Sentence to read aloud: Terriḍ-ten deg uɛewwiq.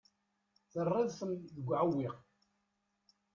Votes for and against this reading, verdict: 2, 0, accepted